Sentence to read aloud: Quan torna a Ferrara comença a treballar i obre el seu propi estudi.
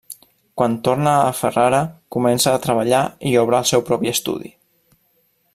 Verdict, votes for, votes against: accepted, 2, 0